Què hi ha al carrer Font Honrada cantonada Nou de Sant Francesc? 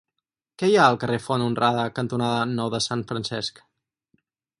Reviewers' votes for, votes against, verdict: 4, 0, accepted